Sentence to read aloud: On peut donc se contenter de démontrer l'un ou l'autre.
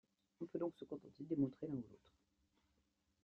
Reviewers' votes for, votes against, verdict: 1, 2, rejected